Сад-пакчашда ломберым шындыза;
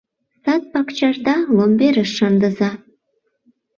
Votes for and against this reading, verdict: 0, 2, rejected